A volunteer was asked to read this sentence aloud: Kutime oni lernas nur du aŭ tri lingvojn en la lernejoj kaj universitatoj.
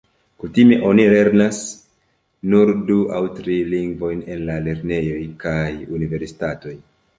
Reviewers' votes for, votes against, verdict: 2, 1, accepted